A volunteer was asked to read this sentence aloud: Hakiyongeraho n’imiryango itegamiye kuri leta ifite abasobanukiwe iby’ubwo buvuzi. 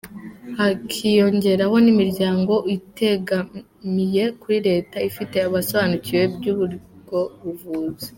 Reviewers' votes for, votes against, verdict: 1, 2, rejected